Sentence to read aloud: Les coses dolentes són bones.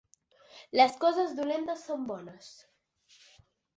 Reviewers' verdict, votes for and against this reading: accepted, 3, 0